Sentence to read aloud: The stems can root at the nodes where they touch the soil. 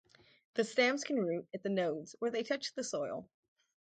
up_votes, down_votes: 4, 0